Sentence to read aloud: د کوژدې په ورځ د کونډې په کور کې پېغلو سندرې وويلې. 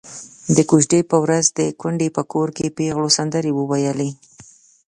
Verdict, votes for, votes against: accepted, 2, 0